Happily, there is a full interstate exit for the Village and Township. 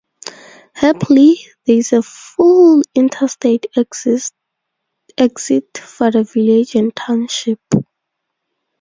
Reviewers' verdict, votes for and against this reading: rejected, 0, 4